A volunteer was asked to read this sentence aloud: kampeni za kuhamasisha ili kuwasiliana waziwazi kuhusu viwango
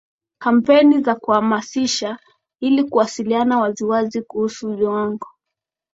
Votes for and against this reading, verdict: 3, 0, accepted